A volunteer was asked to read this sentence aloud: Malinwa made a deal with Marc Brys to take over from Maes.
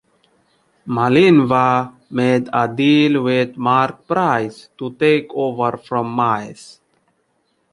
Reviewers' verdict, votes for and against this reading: rejected, 1, 2